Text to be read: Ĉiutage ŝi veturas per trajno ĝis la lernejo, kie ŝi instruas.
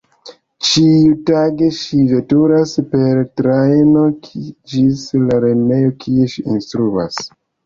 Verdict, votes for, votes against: rejected, 1, 2